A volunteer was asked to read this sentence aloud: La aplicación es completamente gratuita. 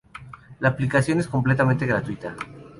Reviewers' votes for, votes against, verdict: 2, 0, accepted